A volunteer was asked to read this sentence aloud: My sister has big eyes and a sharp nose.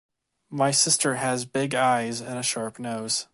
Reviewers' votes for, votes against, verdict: 2, 0, accepted